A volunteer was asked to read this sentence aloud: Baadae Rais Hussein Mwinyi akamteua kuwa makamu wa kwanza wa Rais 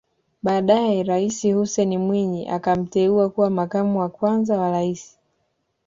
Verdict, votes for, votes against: accepted, 2, 0